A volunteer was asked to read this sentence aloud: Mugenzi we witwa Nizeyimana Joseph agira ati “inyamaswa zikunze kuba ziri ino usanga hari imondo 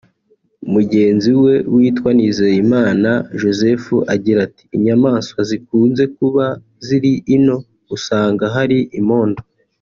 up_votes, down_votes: 2, 0